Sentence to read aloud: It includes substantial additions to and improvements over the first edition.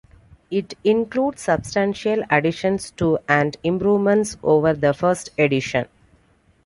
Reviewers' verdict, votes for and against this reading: accepted, 2, 0